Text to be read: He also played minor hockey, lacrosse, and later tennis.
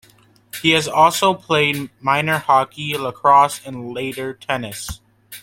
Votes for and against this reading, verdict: 0, 2, rejected